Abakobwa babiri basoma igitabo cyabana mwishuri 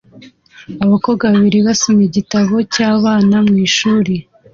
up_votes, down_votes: 2, 0